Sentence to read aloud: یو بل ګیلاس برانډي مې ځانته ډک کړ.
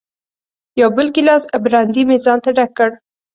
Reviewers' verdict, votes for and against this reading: accepted, 2, 0